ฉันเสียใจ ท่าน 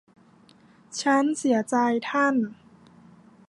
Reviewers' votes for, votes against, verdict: 0, 2, rejected